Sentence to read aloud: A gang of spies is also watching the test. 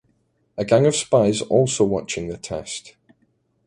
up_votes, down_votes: 0, 2